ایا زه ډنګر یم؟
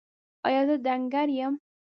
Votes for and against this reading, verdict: 1, 2, rejected